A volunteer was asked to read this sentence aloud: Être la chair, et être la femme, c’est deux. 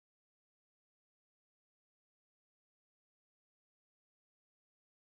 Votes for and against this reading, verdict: 1, 2, rejected